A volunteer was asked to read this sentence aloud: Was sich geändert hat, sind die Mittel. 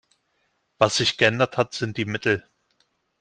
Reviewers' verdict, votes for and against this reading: accepted, 2, 0